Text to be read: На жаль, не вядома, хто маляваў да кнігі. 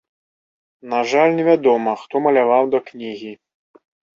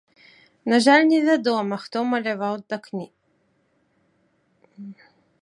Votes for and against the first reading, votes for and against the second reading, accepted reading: 3, 0, 1, 2, first